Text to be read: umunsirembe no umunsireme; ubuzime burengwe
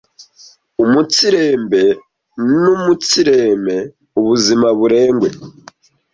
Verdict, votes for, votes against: rejected, 0, 2